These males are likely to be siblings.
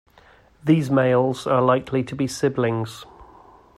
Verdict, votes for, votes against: accepted, 2, 0